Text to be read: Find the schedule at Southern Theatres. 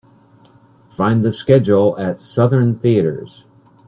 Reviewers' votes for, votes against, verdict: 2, 0, accepted